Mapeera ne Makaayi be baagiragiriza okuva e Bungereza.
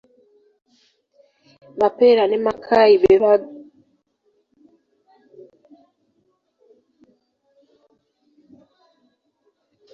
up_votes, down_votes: 0, 2